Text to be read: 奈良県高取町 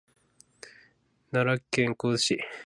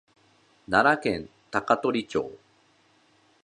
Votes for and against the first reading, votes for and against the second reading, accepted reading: 1, 2, 2, 0, second